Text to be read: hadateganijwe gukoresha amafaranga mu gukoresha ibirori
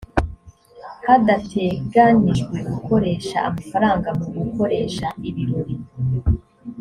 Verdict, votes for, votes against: accepted, 2, 0